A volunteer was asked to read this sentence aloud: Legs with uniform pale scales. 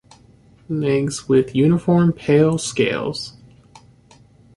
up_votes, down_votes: 2, 0